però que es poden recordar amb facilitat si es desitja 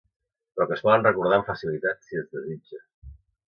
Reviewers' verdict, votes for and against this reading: rejected, 1, 2